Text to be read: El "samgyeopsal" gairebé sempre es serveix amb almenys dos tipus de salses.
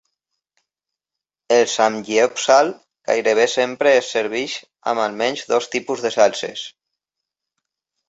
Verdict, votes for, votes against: accepted, 2, 0